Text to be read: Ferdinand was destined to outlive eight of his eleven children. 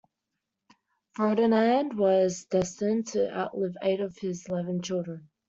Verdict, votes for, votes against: accepted, 2, 1